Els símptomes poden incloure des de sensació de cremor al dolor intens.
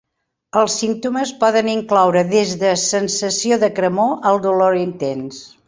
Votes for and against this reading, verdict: 4, 0, accepted